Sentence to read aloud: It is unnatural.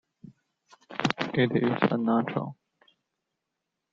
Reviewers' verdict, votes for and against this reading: accepted, 2, 0